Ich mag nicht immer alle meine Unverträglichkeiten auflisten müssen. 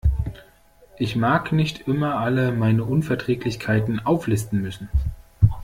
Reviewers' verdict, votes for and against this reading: rejected, 1, 2